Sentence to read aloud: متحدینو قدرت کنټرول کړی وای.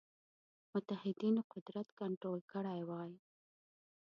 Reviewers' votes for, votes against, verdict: 0, 2, rejected